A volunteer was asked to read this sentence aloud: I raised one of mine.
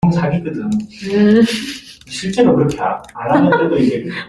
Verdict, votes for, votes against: rejected, 0, 2